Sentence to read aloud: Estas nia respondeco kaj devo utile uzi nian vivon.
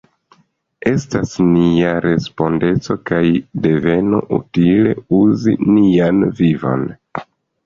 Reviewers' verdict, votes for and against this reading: rejected, 0, 2